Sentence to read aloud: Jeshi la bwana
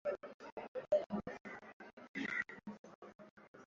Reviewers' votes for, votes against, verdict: 0, 2, rejected